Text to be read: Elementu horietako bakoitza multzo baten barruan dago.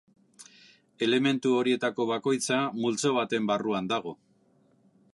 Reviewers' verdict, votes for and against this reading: accepted, 3, 0